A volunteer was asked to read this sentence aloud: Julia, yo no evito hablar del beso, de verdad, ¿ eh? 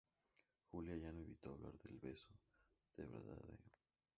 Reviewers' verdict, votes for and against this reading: rejected, 0, 2